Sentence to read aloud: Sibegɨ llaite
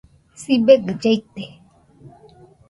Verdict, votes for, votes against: accepted, 2, 0